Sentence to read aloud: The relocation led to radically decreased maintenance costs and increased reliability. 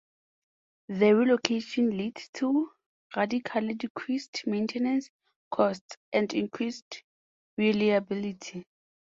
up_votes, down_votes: 2, 0